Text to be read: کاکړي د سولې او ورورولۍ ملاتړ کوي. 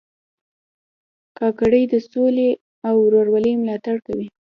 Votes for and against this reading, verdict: 2, 0, accepted